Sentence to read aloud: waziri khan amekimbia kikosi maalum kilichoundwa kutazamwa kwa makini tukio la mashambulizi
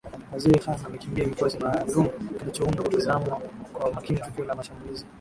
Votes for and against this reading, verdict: 1, 5, rejected